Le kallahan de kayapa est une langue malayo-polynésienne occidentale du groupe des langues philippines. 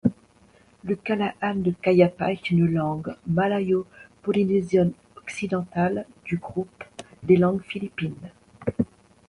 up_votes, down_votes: 0, 2